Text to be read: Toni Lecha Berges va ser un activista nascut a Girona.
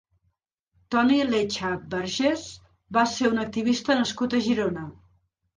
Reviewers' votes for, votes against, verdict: 3, 0, accepted